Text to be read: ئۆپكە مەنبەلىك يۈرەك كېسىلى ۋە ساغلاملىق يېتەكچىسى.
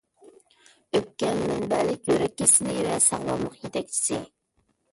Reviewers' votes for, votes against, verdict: 1, 2, rejected